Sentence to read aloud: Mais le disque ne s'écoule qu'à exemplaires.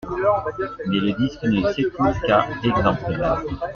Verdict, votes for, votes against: rejected, 1, 2